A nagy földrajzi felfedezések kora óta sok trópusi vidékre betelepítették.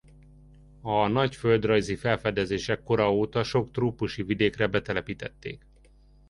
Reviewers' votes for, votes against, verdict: 2, 1, accepted